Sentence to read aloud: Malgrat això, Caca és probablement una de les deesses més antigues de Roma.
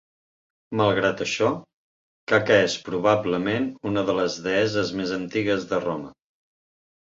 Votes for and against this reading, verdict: 2, 0, accepted